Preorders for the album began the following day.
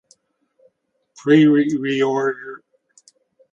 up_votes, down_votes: 0, 2